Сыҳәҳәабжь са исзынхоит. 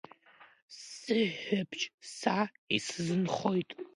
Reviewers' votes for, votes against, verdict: 2, 1, accepted